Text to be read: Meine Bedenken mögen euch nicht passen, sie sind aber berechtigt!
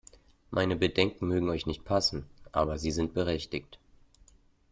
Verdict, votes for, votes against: rejected, 0, 2